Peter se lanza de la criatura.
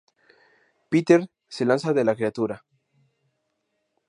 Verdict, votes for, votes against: accepted, 2, 0